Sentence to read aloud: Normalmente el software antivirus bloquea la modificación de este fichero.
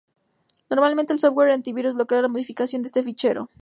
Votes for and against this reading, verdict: 2, 0, accepted